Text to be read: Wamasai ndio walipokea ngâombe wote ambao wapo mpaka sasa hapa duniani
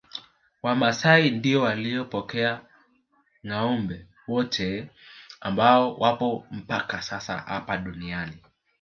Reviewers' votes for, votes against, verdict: 0, 2, rejected